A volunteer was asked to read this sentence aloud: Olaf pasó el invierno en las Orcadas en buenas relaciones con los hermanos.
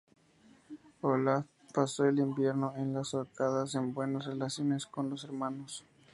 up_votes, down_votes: 0, 2